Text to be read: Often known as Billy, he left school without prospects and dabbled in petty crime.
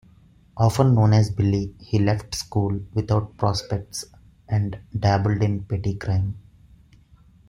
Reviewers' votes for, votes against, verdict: 2, 0, accepted